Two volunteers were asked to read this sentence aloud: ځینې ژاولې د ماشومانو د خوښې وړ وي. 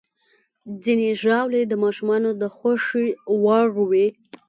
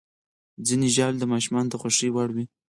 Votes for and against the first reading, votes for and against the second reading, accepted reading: 2, 0, 2, 4, first